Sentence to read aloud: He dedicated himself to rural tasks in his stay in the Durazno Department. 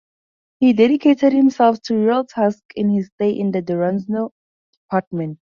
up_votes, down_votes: 0, 2